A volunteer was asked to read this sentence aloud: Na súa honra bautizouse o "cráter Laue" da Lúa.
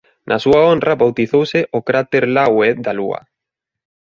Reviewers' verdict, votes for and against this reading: accepted, 2, 0